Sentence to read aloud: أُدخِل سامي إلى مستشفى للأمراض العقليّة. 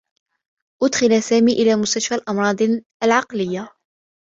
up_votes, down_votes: 1, 2